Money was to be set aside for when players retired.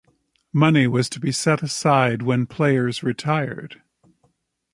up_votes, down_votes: 0, 2